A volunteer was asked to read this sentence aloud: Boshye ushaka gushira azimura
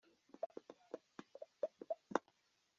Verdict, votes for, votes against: rejected, 0, 2